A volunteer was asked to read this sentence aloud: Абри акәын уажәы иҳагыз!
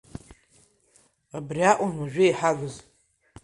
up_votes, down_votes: 3, 2